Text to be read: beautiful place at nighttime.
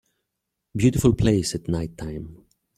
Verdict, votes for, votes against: accepted, 2, 1